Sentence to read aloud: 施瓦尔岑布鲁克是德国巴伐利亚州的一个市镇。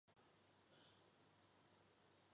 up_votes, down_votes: 2, 0